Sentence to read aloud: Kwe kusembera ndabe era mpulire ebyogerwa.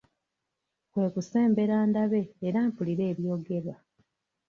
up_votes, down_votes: 2, 1